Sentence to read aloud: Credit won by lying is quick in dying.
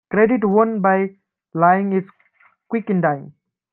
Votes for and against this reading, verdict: 2, 0, accepted